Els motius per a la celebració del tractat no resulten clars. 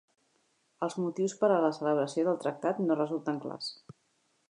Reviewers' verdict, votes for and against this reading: accepted, 3, 0